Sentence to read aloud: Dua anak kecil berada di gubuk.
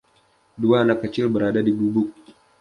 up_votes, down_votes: 2, 0